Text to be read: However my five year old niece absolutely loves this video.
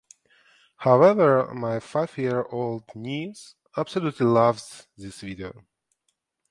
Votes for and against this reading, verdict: 2, 0, accepted